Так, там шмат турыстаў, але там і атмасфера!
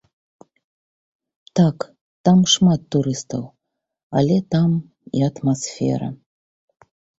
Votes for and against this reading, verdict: 2, 1, accepted